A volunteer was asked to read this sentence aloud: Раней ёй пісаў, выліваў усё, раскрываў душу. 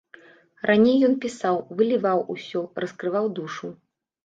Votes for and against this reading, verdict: 0, 2, rejected